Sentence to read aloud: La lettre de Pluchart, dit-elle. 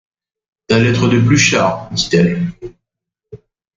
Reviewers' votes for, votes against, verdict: 2, 0, accepted